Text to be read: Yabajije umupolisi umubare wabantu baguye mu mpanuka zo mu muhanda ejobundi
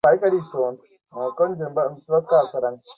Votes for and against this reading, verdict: 0, 2, rejected